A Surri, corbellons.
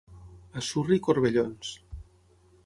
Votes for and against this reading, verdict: 6, 0, accepted